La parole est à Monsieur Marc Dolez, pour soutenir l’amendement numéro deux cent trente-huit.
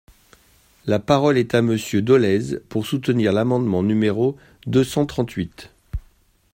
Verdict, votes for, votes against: rejected, 1, 2